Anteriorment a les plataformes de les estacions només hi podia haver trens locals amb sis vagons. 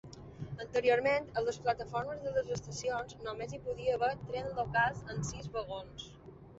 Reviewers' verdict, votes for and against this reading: rejected, 1, 2